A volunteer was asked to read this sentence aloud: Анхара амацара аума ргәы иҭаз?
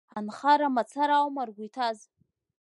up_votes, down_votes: 3, 2